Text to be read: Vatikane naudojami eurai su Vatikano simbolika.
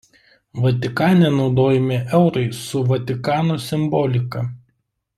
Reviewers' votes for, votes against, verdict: 0, 2, rejected